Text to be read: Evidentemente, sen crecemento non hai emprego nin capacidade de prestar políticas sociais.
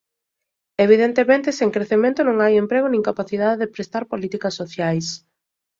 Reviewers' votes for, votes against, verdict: 2, 0, accepted